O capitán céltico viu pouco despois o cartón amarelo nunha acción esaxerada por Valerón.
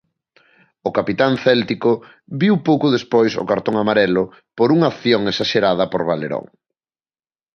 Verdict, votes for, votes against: rejected, 1, 2